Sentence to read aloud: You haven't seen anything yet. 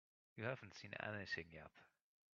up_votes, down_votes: 0, 2